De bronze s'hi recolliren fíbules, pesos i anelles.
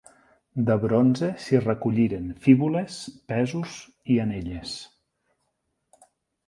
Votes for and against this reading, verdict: 9, 0, accepted